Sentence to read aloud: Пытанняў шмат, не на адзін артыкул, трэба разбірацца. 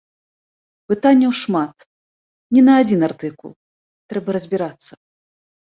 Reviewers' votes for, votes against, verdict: 2, 0, accepted